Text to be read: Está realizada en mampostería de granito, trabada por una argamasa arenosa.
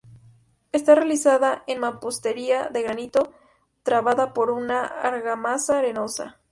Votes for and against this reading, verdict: 2, 0, accepted